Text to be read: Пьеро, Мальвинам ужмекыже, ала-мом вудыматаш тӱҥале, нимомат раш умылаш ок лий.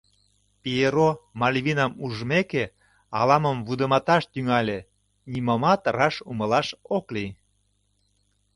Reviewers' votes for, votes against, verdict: 0, 2, rejected